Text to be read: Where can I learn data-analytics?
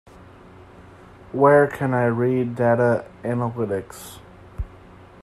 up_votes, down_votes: 0, 2